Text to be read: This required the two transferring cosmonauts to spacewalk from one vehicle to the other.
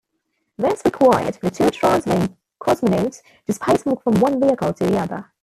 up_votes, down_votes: 0, 2